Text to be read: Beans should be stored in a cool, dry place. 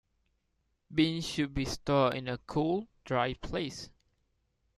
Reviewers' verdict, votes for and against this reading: rejected, 0, 2